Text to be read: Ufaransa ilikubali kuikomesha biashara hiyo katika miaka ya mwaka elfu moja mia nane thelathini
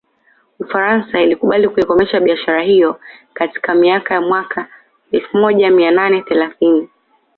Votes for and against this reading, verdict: 2, 0, accepted